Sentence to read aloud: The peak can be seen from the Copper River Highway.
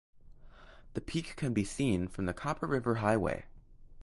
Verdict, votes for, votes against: accepted, 2, 0